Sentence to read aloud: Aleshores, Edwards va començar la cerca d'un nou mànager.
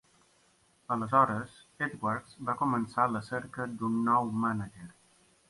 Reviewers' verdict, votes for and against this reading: accepted, 2, 0